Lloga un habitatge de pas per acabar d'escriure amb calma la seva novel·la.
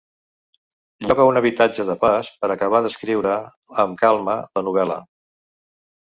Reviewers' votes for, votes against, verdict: 0, 3, rejected